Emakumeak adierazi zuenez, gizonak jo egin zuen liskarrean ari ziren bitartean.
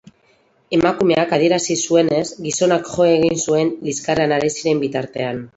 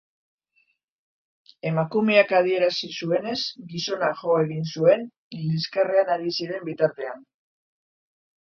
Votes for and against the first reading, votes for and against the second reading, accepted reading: 4, 0, 1, 2, first